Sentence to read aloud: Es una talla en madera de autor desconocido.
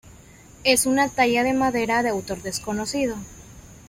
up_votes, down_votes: 0, 2